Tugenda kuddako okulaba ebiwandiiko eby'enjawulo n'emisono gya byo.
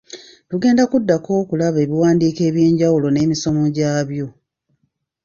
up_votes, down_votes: 0, 2